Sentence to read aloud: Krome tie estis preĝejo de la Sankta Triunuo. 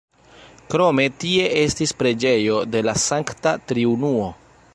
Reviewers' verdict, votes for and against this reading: rejected, 1, 2